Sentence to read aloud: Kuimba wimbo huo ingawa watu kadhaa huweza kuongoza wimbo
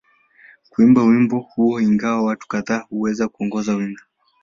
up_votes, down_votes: 1, 2